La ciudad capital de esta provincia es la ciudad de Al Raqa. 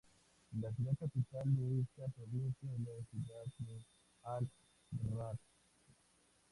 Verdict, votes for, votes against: rejected, 0, 2